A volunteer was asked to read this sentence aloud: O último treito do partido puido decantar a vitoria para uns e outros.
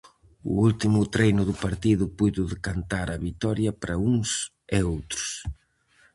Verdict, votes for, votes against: rejected, 0, 4